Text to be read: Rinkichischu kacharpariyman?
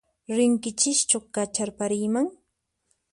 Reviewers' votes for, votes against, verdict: 4, 0, accepted